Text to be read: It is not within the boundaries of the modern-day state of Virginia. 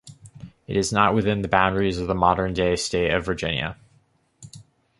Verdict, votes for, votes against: accepted, 2, 0